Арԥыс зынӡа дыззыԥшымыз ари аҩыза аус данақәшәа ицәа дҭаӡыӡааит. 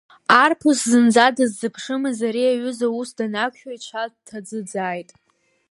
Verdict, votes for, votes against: accepted, 2, 1